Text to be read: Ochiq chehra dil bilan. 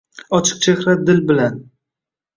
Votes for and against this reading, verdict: 2, 0, accepted